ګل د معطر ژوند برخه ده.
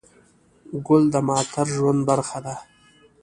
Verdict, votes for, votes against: accepted, 2, 1